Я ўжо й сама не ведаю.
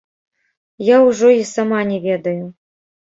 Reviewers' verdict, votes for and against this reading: rejected, 1, 2